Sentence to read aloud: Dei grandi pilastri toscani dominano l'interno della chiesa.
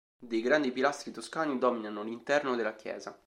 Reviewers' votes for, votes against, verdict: 2, 0, accepted